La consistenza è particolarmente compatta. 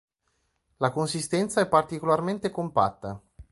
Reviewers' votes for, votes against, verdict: 2, 0, accepted